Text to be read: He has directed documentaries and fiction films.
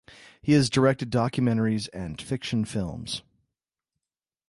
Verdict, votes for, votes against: accepted, 2, 0